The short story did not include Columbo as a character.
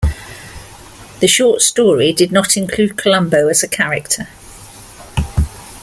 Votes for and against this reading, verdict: 2, 0, accepted